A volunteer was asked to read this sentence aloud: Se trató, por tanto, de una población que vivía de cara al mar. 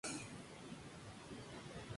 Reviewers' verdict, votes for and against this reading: rejected, 0, 2